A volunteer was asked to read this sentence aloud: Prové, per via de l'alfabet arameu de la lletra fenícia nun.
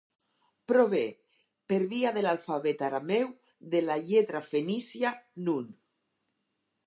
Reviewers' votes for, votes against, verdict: 4, 0, accepted